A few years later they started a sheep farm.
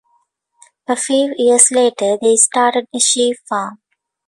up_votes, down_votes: 2, 0